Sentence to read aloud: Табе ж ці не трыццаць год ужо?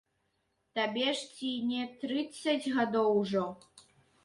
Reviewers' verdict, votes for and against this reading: rejected, 0, 2